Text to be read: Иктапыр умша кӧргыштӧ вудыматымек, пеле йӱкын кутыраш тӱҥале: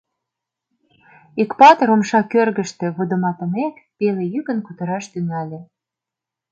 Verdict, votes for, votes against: rejected, 1, 2